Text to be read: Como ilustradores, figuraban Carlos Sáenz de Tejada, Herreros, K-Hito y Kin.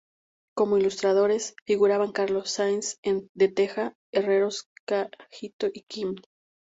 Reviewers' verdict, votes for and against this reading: rejected, 0, 2